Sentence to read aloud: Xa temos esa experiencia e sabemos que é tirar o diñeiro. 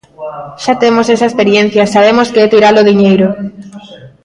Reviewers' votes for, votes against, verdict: 2, 0, accepted